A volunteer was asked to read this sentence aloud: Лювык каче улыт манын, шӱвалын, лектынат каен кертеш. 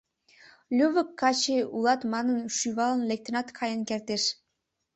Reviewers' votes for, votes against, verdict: 1, 2, rejected